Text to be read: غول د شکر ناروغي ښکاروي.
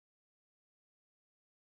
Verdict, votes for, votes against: rejected, 1, 2